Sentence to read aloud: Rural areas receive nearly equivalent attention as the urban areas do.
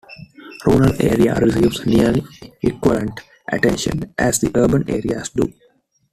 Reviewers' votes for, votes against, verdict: 1, 2, rejected